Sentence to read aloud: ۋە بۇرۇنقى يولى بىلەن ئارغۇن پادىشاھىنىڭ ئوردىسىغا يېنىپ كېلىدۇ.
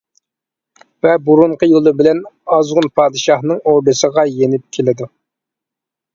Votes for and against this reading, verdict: 0, 2, rejected